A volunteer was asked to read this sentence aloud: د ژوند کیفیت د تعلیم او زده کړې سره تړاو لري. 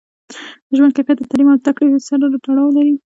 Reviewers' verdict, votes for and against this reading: accepted, 2, 0